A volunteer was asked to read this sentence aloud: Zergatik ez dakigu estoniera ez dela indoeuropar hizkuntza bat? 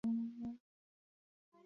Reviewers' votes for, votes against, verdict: 0, 4, rejected